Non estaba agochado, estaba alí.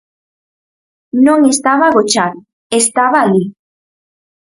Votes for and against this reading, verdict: 4, 0, accepted